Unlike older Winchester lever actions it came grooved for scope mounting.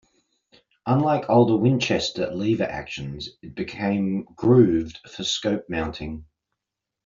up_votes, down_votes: 0, 2